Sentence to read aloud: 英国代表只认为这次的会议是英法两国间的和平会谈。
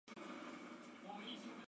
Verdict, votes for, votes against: rejected, 0, 2